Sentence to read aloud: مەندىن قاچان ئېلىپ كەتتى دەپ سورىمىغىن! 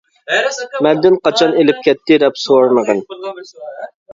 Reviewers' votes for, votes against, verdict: 0, 2, rejected